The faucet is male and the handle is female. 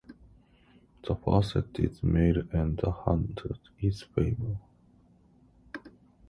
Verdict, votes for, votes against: rejected, 0, 2